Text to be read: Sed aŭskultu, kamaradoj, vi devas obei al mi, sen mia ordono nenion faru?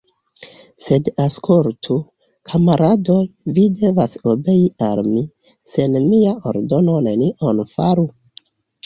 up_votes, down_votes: 2, 1